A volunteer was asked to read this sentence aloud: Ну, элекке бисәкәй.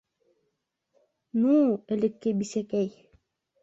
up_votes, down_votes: 2, 0